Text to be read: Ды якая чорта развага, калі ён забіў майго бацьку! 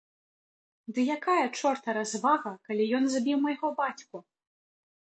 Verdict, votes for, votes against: accepted, 2, 0